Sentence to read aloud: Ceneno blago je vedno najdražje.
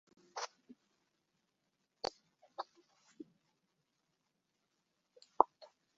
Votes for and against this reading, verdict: 0, 2, rejected